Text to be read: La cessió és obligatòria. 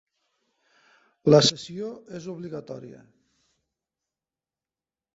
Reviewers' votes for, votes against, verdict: 1, 2, rejected